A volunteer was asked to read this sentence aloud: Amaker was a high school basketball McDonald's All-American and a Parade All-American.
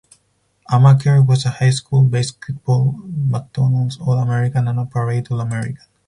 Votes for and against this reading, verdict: 4, 2, accepted